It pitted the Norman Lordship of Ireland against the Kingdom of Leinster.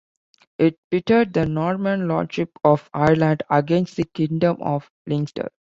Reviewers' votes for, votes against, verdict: 2, 1, accepted